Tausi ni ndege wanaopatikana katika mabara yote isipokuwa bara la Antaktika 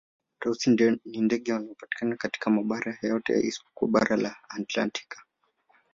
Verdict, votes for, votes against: rejected, 1, 2